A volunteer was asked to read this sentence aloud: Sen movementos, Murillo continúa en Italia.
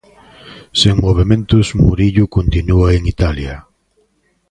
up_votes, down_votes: 2, 0